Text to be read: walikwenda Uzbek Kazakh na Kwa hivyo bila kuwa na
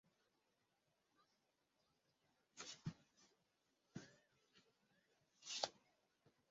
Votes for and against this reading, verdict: 0, 2, rejected